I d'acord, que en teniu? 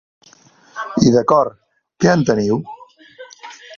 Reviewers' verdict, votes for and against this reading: rejected, 0, 2